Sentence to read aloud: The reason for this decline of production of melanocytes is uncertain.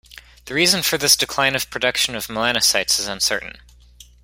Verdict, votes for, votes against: accepted, 2, 0